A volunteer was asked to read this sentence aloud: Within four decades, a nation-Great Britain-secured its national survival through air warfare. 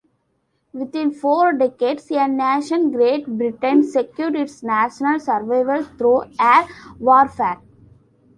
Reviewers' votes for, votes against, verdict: 2, 0, accepted